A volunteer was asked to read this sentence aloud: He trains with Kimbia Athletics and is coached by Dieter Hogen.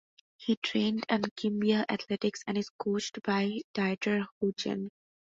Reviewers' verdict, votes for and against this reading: rejected, 0, 2